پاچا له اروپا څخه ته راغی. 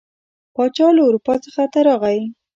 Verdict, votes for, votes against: accepted, 2, 1